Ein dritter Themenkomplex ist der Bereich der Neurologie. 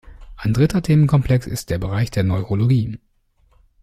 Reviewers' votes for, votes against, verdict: 2, 0, accepted